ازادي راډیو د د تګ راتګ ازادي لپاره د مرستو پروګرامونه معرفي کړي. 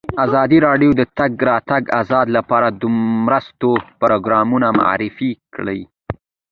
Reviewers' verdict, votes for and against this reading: accepted, 2, 1